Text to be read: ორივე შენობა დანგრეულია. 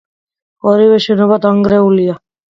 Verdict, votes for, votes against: accepted, 2, 0